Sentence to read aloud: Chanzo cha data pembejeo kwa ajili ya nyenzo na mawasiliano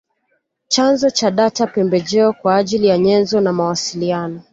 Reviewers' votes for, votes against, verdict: 3, 0, accepted